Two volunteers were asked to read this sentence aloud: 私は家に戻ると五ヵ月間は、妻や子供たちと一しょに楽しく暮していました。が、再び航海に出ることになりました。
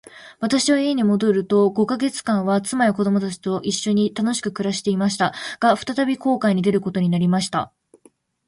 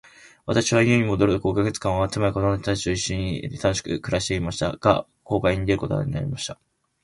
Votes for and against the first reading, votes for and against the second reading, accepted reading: 2, 1, 4, 5, first